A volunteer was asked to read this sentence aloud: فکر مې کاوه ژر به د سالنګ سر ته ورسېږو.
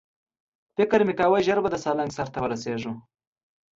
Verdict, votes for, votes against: accepted, 2, 0